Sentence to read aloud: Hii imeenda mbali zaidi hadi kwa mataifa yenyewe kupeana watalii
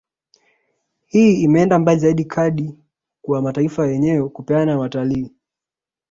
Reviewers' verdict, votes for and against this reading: rejected, 0, 2